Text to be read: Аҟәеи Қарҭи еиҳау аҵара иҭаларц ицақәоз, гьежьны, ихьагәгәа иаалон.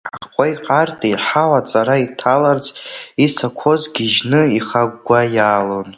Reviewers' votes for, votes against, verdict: 0, 2, rejected